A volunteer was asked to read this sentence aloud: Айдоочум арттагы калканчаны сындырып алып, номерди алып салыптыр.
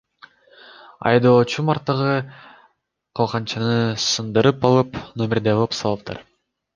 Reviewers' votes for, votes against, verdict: 1, 2, rejected